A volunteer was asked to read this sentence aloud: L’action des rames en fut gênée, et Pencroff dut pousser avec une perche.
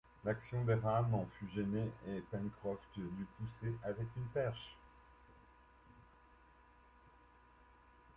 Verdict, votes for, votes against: accepted, 2, 1